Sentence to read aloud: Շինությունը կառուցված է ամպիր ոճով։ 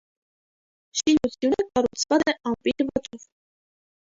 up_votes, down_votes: 0, 2